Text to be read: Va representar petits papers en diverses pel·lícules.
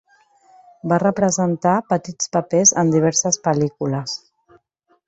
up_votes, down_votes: 3, 1